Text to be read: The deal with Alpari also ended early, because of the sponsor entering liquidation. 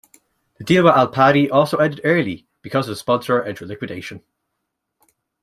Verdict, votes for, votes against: rejected, 1, 2